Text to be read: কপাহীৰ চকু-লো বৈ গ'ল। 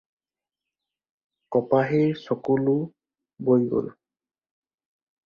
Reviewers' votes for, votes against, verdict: 4, 0, accepted